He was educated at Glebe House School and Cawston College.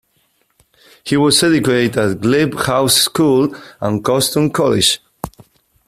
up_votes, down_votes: 0, 2